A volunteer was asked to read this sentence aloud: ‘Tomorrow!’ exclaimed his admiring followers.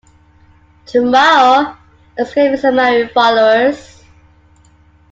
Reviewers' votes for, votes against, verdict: 2, 1, accepted